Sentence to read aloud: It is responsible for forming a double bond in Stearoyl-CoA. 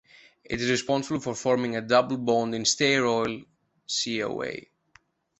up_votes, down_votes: 2, 1